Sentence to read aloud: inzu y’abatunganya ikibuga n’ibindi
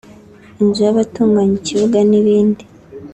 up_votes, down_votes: 2, 0